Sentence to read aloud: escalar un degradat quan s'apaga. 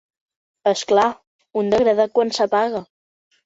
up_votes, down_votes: 1, 2